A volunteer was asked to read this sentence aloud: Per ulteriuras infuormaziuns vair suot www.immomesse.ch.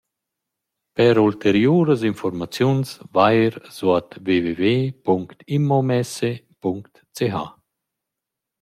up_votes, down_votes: 0, 2